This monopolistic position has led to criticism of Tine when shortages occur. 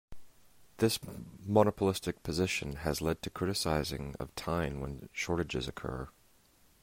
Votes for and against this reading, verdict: 0, 2, rejected